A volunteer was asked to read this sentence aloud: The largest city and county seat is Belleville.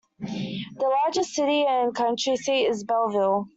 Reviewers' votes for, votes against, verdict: 0, 2, rejected